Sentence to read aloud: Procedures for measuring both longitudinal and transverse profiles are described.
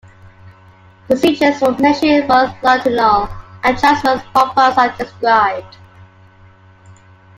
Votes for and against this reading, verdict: 1, 2, rejected